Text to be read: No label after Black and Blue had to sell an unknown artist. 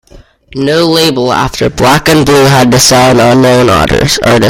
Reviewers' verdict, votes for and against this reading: rejected, 0, 2